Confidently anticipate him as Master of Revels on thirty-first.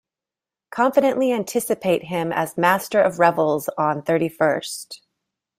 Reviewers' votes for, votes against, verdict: 2, 0, accepted